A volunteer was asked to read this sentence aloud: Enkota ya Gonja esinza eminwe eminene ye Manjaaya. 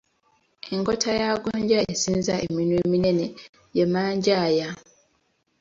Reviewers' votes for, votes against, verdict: 3, 0, accepted